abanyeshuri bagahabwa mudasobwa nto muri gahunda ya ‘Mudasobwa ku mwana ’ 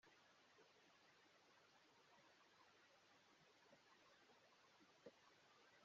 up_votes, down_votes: 0, 2